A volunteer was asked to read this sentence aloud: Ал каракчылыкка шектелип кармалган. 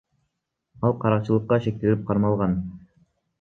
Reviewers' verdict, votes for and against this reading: accepted, 2, 1